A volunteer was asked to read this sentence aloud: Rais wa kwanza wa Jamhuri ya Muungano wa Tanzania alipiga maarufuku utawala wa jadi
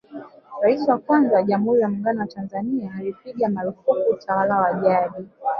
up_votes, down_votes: 2, 0